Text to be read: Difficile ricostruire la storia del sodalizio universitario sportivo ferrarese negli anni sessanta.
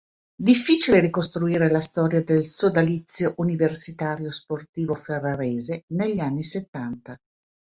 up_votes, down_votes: 0, 2